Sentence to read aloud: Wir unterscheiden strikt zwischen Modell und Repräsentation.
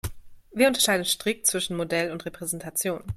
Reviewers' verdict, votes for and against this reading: accepted, 2, 0